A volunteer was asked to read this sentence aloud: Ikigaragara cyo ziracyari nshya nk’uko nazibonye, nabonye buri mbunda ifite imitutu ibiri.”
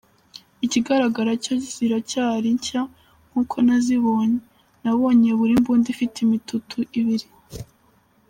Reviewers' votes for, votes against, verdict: 1, 2, rejected